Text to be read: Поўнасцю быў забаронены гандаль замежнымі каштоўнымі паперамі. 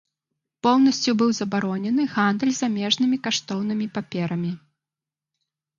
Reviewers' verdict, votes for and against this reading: accepted, 2, 0